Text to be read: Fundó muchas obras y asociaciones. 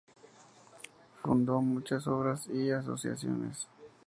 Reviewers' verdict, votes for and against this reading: accepted, 2, 0